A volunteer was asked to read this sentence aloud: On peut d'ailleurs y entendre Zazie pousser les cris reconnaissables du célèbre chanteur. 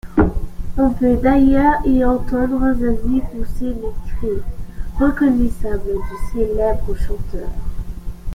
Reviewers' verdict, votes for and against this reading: accepted, 2, 0